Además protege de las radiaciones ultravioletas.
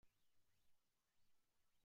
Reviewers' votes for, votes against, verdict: 0, 2, rejected